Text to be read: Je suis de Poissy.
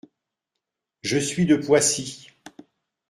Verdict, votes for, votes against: accepted, 2, 0